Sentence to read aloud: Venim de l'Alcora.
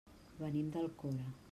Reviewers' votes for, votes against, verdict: 0, 2, rejected